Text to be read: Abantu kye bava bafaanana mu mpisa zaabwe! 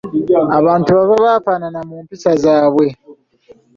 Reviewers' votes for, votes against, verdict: 1, 2, rejected